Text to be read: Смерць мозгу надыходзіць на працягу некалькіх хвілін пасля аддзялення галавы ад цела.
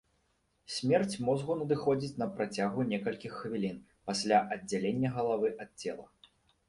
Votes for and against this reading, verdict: 0, 2, rejected